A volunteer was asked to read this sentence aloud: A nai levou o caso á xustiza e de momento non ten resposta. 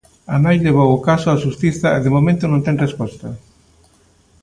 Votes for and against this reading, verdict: 2, 0, accepted